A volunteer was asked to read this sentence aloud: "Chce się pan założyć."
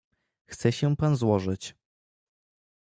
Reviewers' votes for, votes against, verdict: 0, 2, rejected